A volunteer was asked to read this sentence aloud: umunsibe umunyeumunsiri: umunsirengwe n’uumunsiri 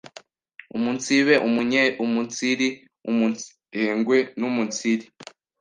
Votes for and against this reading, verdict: 1, 2, rejected